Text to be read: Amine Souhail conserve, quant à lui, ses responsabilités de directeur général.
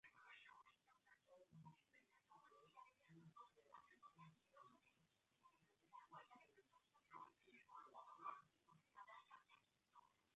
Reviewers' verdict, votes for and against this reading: rejected, 0, 2